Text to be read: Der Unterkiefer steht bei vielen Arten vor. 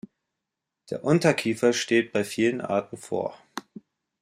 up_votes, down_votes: 2, 0